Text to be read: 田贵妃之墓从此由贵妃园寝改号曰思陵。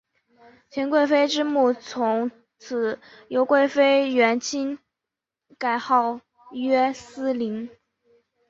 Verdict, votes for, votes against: accepted, 2, 0